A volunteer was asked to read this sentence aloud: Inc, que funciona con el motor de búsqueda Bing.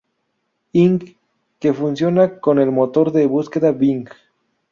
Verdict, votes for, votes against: rejected, 0, 2